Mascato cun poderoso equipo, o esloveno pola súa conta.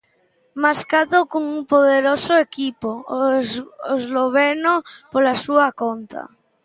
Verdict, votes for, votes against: rejected, 0, 2